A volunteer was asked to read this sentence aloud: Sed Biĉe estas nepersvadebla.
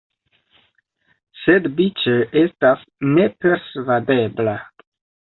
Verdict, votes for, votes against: accepted, 2, 0